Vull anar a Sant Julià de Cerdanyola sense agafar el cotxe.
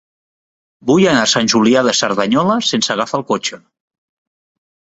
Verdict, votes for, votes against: accepted, 3, 0